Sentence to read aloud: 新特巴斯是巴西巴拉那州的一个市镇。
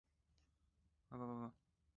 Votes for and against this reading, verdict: 0, 2, rejected